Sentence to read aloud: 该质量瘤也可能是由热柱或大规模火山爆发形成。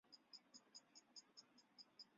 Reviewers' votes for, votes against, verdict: 0, 4, rejected